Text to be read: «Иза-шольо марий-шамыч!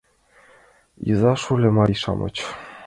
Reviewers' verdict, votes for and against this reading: accepted, 2, 0